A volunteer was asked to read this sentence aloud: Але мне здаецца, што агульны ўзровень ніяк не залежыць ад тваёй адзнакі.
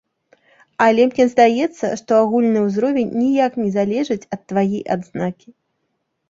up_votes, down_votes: 0, 2